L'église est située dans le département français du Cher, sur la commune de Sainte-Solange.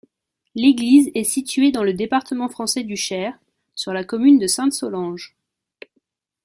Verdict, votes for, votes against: accepted, 2, 0